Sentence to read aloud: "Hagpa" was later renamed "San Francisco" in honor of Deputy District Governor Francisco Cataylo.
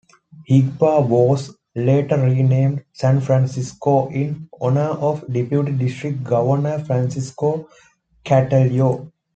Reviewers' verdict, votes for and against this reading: accepted, 2, 0